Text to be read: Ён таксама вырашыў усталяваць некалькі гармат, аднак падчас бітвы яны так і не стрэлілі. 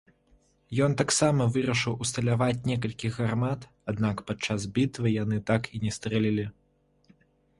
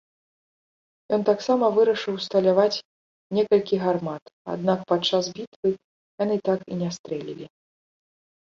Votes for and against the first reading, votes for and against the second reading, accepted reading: 0, 2, 2, 0, second